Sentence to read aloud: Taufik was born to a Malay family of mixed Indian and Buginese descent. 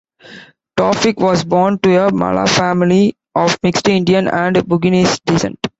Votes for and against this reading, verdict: 2, 1, accepted